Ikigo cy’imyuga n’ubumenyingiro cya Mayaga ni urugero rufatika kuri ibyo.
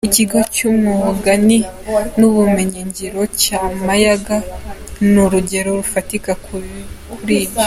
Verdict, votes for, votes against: rejected, 1, 3